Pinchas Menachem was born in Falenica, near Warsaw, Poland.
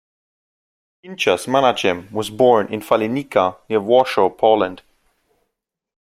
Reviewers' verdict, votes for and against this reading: rejected, 1, 2